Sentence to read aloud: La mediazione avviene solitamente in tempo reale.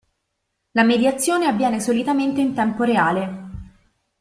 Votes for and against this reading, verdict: 2, 0, accepted